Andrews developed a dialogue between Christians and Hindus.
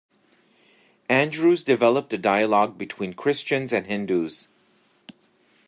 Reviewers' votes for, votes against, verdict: 3, 0, accepted